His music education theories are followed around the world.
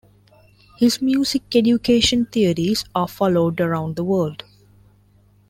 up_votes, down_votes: 2, 0